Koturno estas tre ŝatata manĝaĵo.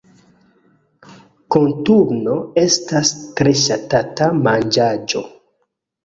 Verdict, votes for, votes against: rejected, 0, 2